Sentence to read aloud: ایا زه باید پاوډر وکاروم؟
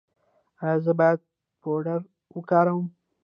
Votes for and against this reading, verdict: 1, 2, rejected